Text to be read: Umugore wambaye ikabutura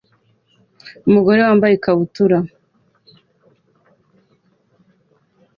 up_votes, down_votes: 2, 0